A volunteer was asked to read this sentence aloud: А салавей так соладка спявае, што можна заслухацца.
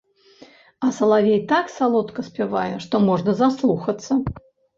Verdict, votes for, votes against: rejected, 0, 2